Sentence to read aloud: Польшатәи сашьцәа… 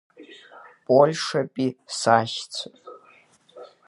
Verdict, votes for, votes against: accepted, 3, 0